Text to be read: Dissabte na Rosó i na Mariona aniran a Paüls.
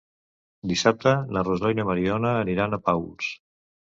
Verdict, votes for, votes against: rejected, 1, 2